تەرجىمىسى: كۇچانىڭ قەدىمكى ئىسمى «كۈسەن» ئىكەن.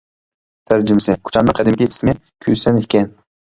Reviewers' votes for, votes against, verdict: 1, 2, rejected